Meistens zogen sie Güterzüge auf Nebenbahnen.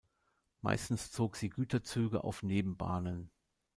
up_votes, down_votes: 0, 2